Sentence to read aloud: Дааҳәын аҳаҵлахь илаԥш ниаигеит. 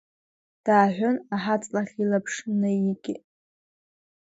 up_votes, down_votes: 0, 2